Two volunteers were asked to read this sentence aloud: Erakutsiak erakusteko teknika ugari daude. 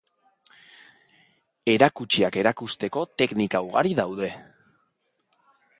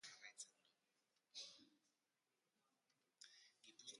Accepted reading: first